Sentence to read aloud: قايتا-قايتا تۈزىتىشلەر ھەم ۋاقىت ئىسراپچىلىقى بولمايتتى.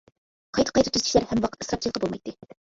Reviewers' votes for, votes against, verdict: 0, 2, rejected